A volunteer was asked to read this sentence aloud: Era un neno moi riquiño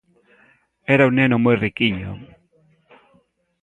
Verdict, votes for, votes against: accepted, 2, 0